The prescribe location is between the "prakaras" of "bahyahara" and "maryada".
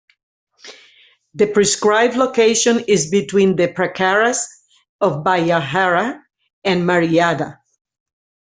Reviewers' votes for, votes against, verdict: 2, 0, accepted